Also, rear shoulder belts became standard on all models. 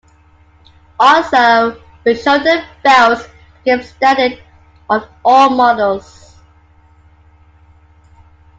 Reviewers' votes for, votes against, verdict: 2, 1, accepted